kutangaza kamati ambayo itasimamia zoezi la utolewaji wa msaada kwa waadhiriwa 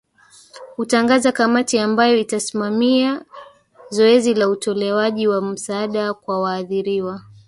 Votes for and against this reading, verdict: 1, 2, rejected